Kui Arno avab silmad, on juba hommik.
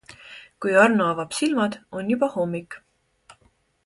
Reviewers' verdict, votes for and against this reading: accepted, 3, 0